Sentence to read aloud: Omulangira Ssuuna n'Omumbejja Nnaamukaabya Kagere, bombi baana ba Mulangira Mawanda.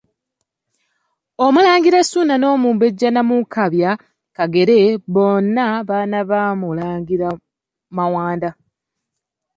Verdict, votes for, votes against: rejected, 1, 2